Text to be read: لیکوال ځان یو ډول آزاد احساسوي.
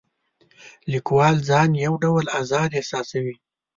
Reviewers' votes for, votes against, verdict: 2, 0, accepted